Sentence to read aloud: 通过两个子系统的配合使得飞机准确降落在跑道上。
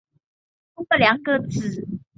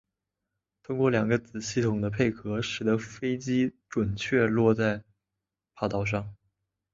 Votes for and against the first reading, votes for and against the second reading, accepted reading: 1, 3, 2, 0, second